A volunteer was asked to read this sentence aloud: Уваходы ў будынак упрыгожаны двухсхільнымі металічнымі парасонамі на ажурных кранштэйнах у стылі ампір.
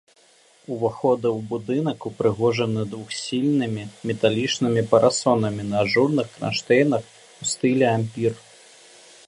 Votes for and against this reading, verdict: 1, 3, rejected